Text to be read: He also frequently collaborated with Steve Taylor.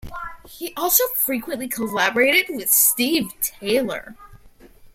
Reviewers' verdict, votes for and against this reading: accepted, 3, 0